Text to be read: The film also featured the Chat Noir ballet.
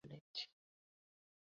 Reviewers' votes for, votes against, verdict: 0, 2, rejected